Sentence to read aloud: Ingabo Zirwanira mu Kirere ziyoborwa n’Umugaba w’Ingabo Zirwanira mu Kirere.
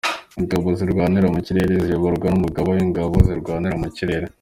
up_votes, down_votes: 2, 0